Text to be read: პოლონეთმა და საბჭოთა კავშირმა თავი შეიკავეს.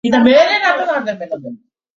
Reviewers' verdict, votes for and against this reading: rejected, 0, 2